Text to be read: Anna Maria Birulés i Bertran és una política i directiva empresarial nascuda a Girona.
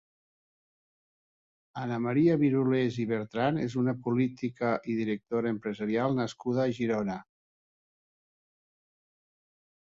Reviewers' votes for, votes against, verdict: 0, 2, rejected